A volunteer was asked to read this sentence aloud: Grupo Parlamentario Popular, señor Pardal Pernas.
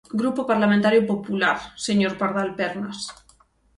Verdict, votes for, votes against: accepted, 6, 0